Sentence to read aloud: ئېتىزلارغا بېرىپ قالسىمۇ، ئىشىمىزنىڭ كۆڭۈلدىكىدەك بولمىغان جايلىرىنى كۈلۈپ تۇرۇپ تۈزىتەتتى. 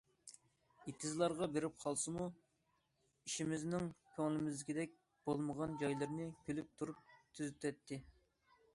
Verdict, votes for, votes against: rejected, 0, 2